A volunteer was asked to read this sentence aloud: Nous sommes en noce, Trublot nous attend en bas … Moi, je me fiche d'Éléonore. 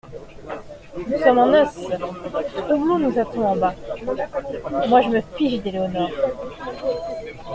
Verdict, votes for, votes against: accepted, 2, 1